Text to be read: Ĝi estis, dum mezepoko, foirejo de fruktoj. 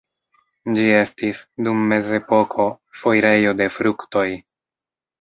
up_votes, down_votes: 1, 2